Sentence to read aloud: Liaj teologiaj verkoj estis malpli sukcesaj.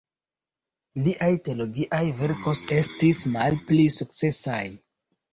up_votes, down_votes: 0, 2